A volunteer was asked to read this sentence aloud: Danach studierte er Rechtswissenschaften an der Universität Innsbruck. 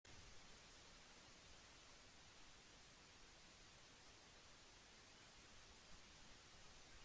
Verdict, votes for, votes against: rejected, 0, 2